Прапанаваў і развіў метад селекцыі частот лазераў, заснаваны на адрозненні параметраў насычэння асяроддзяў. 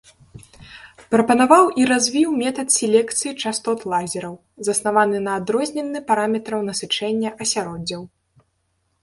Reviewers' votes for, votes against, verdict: 0, 2, rejected